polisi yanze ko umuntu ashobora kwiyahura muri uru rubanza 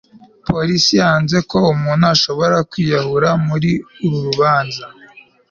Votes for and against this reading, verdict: 2, 0, accepted